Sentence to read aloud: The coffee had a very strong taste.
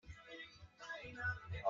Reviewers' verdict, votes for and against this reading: rejected, 0, 2